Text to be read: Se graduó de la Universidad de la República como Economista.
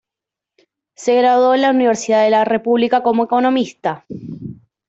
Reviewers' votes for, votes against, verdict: 0, 2, rejected